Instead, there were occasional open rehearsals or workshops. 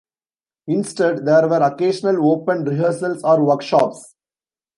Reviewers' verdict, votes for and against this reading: accepted, 2, 1